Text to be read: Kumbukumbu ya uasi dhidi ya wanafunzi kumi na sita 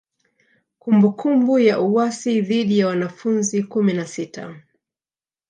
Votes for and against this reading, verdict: 1, 2, rejected